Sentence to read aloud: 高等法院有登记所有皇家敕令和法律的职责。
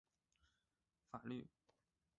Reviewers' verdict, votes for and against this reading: rejected, 2, 3